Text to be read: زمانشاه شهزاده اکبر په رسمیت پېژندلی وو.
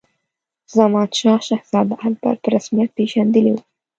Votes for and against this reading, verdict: 1, 2, rejected